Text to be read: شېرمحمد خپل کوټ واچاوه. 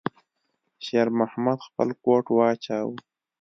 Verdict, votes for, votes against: accepted, 2, 0